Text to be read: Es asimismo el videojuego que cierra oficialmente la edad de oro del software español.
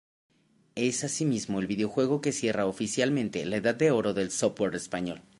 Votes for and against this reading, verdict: 2, 1, accepted